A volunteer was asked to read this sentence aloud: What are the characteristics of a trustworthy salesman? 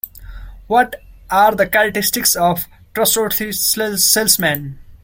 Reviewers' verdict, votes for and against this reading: rejected, 1, 2